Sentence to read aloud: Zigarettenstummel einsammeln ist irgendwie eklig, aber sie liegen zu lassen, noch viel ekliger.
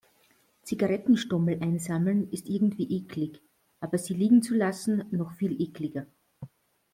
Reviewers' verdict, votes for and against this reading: accepted, 2, 0